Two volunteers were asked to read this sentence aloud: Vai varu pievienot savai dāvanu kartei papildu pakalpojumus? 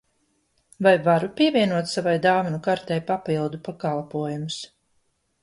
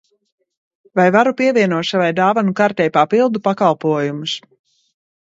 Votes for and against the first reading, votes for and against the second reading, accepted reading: 2, 0, 0, 2, first